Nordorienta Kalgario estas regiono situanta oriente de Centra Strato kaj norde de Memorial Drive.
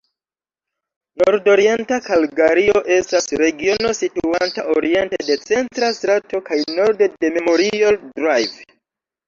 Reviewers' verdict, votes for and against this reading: rejected, 1, 2